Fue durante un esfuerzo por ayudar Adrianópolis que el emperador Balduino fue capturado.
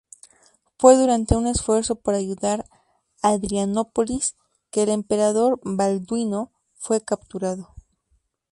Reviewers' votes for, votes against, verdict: 2, 2, rejected